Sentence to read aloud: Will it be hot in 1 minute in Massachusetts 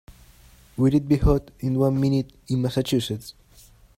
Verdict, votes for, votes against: rejected, 0, 2